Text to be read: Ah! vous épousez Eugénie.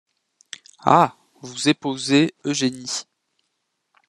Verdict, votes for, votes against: rejected, 1, 2